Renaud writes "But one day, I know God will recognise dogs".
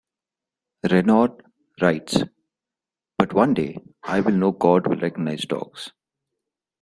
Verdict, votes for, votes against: rejected, 0, 2